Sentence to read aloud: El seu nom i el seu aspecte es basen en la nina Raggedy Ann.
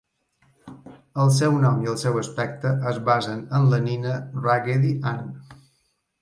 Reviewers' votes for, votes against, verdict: 2, 0, accepted